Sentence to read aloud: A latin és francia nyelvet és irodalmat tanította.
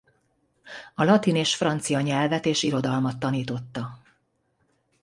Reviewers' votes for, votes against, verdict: 2, 0, accepted